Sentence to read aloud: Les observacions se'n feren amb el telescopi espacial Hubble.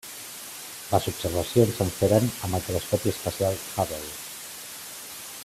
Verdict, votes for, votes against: accepted, 2, 0